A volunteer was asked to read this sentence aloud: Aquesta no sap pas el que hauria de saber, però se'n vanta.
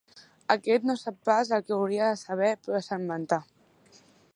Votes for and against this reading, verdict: 1, 2, rejected